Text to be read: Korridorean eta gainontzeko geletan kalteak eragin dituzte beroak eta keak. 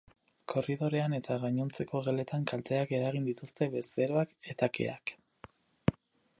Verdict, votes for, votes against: rejected, 0, 6